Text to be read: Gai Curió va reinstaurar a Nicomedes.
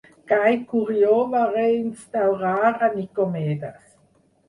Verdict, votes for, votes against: rejected, 0, 2